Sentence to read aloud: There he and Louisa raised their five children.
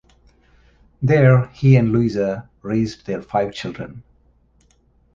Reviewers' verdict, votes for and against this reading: accepted, 2, 0